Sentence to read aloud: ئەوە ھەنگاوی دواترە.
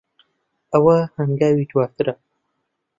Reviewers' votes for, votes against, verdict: 2, 0, accepted